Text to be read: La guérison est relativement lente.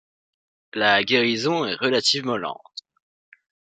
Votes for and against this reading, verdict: 2, 0, accepted